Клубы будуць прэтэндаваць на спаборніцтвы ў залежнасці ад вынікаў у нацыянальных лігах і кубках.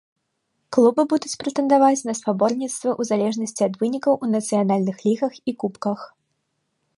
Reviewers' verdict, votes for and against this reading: accepted, 2, 0